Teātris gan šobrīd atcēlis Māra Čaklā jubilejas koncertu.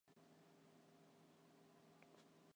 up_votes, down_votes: 0, 2